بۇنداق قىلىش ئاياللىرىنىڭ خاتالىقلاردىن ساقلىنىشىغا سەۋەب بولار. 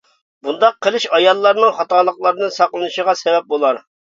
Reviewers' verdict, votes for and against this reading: rejected, 1, 2